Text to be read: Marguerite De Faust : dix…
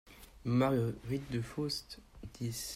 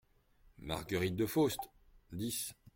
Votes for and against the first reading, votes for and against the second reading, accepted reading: 0, 2, 2, 0, second